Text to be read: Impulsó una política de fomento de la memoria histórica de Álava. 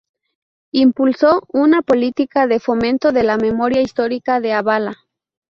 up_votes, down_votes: 2, 2